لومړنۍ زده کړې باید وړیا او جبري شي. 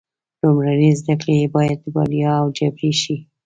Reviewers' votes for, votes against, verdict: 2, 1, accepted